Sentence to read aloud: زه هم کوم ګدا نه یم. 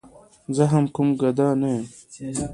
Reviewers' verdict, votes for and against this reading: accepted, 2, 1